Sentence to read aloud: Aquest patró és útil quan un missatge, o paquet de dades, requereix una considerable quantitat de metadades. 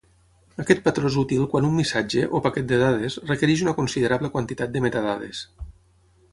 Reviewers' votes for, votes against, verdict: 6, 0, accepted